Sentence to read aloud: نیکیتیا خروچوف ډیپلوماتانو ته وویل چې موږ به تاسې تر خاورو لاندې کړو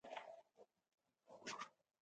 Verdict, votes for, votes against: accepted, 2, 1